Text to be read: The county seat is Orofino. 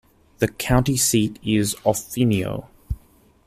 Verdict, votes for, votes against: rejected, 0, 2